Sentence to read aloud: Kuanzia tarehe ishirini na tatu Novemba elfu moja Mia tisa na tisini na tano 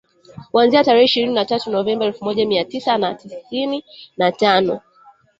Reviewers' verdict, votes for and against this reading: rejected, 0, 2